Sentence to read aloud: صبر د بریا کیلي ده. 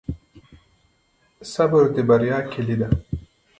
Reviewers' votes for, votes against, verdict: 0, 2, rejected